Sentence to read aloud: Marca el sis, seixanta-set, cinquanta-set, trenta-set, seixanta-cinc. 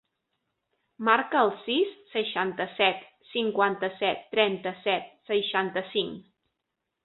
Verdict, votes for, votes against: accepted, 3, 0